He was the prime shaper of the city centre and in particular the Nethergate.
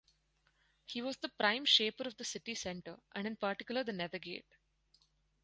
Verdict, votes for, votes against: accepted, 4, 0